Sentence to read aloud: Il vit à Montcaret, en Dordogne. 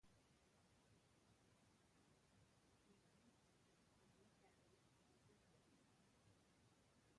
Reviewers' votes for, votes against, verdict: 0, 2, rejected